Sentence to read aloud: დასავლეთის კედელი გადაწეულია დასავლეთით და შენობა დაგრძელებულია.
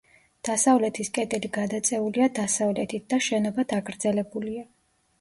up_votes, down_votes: 2, 0